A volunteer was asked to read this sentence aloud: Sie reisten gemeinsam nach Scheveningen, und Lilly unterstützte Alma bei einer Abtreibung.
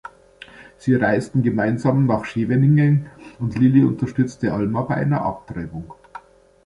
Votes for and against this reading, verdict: 2, 0, accepted